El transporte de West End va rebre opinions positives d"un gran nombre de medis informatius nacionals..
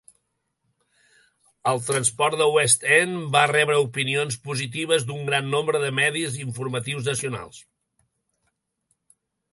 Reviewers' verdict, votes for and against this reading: rejected, 1, 2